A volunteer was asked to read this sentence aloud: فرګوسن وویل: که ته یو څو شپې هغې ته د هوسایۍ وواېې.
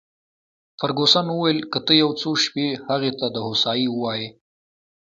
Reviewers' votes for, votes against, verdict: 2, 1, accepted